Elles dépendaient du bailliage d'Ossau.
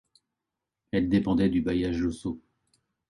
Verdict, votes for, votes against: rejected, 1, 2